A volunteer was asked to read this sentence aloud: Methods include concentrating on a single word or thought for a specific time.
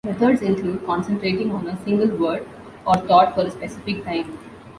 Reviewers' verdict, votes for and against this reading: accepted, 2, 0